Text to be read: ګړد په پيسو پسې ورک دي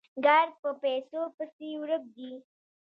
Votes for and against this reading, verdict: 1, 2, rejected